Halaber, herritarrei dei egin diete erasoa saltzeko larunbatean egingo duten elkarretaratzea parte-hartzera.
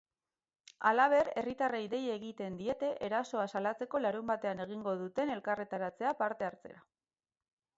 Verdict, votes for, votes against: rejected, 2, 4